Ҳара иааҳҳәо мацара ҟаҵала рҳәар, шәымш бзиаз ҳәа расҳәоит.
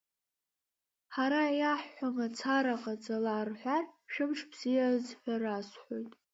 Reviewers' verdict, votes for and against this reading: accepted, 2, 0